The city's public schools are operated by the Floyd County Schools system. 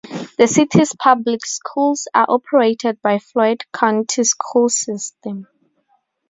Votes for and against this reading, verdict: 0, 2, rejected